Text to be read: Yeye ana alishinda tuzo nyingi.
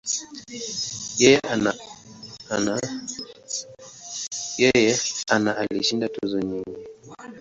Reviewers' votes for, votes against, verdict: 0, 2, rejected